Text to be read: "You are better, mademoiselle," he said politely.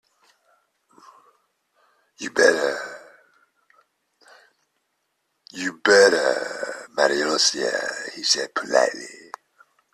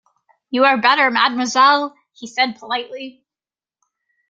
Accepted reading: second